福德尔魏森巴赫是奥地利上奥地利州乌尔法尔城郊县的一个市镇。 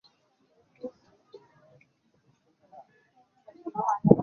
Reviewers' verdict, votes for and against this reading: rejected, 0, 3